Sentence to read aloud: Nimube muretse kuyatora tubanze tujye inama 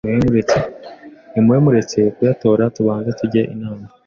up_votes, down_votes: 2, 0